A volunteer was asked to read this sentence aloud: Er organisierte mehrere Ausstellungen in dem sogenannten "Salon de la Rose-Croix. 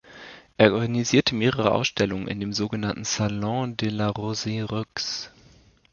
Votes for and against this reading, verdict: 1, 2, rejected